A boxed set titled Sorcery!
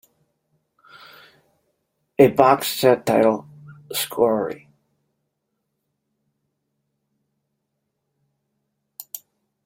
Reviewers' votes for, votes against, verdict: 2, 0, accepted